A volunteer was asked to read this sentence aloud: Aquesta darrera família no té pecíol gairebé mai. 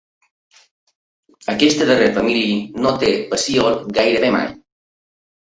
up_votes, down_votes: 0, 2